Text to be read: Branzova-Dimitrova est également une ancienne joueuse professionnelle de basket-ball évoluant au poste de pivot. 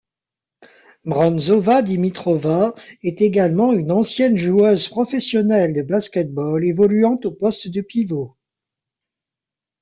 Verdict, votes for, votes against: rejected, 0, 2